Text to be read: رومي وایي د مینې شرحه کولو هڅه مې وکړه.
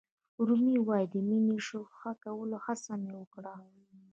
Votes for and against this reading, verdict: 2, 0, accepted